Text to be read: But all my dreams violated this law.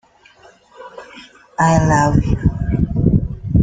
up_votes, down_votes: 0, 2